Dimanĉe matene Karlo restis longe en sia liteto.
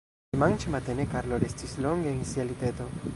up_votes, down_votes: 1, 2